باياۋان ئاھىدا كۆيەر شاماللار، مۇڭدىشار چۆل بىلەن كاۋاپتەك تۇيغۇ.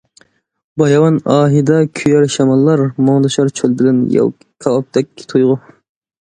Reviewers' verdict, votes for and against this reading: rejected, 0, 2